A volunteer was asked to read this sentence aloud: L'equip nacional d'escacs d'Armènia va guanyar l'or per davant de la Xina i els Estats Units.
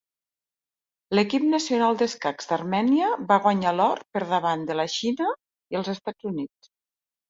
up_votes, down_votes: 3, 0